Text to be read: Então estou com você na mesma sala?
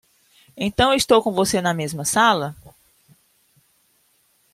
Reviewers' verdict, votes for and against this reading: accepted, 2, 0